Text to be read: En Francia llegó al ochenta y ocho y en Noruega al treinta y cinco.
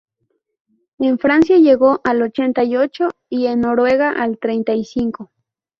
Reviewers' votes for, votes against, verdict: 2, 0, accepted